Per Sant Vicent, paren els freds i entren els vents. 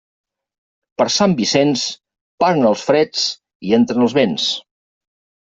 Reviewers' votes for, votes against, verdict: 0, 2, rejected